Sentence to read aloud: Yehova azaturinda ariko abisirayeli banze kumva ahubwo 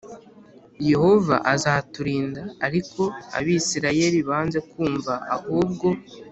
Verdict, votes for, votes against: accepted, 3, 0